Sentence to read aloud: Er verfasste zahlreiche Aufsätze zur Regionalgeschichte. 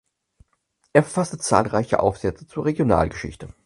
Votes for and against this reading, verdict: 4, 0, accepted